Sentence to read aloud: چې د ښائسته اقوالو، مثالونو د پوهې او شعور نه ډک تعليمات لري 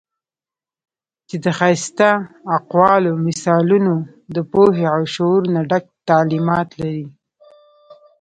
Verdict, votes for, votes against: accepted, 2, 1